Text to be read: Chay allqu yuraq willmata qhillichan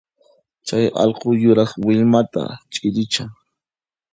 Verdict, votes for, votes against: rejected, 1, 2